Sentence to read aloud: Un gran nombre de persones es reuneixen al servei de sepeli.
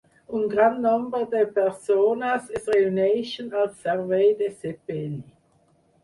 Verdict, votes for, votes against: accepted, 4, 0